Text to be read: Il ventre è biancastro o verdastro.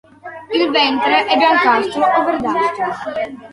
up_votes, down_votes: 2, 1